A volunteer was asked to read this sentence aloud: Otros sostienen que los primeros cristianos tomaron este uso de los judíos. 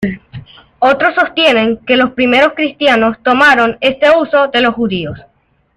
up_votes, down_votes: 2, 0